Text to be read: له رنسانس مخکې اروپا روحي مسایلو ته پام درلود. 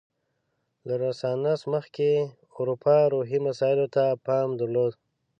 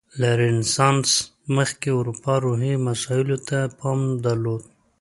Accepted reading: second